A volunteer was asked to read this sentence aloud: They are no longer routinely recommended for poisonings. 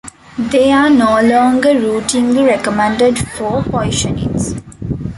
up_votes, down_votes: 1, 2